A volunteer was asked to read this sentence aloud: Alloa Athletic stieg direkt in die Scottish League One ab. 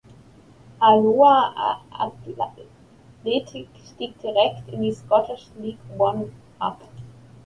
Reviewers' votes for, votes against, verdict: 0, 3, rejected